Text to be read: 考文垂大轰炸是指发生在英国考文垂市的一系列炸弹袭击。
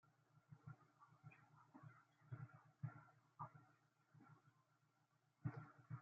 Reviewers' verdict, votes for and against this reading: rejected, 0, 2